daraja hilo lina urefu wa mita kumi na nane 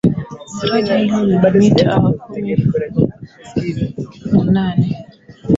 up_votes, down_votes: 0, 2